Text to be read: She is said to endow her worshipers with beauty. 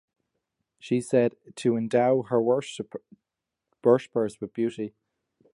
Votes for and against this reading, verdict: 0, 2, rejected